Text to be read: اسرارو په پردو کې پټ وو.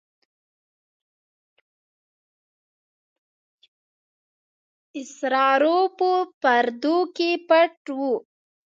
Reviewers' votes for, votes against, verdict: 0, 2, rejected